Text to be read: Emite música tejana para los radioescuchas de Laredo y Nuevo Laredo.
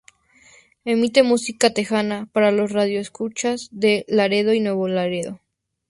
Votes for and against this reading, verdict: 2, 0, accepted